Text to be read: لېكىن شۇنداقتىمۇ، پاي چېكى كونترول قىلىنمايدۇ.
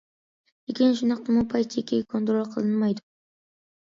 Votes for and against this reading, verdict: 2, 0, accepted